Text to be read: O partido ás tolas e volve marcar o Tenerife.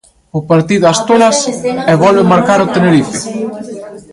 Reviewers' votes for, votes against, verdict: 0, 2, rejected